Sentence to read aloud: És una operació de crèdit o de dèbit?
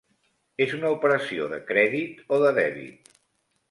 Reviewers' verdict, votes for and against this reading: accepted, 3, 0